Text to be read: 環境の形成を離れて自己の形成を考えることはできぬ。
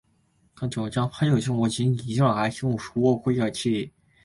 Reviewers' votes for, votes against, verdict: 0, 2, rejected